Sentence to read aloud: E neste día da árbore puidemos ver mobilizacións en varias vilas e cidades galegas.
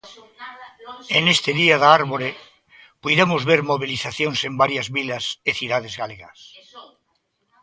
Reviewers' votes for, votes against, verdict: 0, 2, rejected